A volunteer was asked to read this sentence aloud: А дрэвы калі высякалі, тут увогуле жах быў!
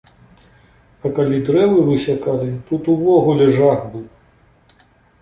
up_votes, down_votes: 1, 2